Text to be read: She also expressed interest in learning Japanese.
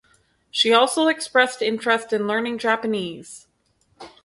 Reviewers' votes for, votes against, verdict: 4, 0, accepted